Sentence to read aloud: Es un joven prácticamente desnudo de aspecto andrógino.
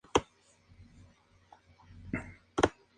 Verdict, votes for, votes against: rejected, 0, 2